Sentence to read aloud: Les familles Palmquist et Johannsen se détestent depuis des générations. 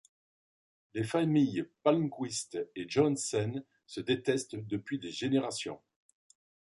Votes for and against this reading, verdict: 2, 0, accepted